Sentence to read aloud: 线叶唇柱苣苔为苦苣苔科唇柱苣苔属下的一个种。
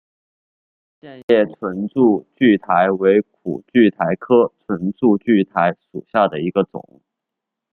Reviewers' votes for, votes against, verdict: 2, 0, accepted